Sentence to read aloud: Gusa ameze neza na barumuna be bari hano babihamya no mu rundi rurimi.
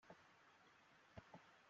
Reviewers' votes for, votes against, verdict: 0, 2, rejected